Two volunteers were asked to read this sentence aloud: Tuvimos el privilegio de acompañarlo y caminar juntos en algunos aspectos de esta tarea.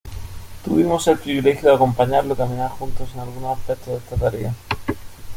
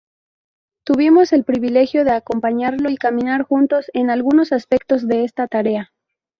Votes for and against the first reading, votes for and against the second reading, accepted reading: 1, 2, 2, 0, second